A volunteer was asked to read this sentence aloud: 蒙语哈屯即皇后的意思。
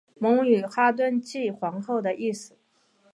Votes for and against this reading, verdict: 2, 1, accepted